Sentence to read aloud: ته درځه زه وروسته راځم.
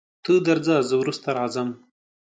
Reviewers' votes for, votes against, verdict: 3, 0, accepted